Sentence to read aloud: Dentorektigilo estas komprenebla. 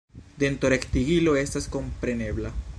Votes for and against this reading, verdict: 2, 1, accepted